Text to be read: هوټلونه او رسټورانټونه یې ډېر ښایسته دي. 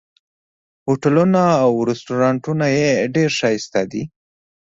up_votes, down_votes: 2, 0